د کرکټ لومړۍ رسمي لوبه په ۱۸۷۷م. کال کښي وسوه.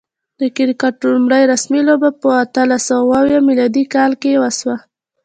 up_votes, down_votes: 0, 2